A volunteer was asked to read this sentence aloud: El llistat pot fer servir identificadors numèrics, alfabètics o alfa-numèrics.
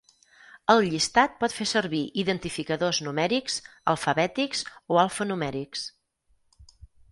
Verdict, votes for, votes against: accepted, 4, 0